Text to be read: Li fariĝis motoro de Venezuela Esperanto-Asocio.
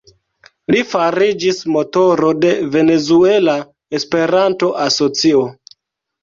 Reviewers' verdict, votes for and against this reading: accepted, 2, 0